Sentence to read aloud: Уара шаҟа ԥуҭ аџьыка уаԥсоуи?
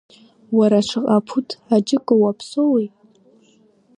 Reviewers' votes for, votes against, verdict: 2, 0, accepted